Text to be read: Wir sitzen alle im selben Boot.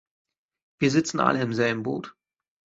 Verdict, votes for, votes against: accepted, 2, 0